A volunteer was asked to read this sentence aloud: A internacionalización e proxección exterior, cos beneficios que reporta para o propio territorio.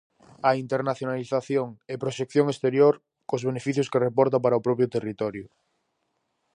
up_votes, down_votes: 4, 0